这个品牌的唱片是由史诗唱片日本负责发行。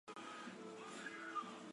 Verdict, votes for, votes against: rejected, 0, 5